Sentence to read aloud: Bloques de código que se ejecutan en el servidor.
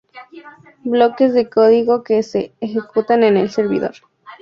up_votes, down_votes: 2, 0